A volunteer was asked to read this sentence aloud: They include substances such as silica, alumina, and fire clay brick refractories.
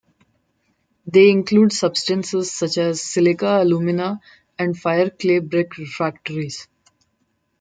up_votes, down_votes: 2, 1